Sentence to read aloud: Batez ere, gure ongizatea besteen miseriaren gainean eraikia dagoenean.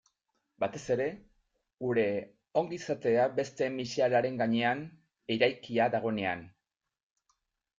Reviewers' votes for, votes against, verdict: 0, 2, rejected